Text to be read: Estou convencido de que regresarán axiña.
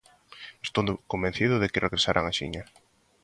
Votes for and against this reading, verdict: 0, 2, rejected